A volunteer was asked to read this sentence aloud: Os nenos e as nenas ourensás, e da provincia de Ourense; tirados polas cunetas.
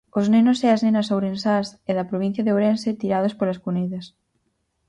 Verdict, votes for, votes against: accepted, 4, 0